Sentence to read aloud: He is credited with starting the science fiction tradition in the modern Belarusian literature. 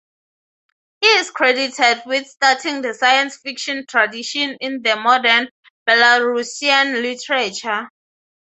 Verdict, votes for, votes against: accepted, 6, 0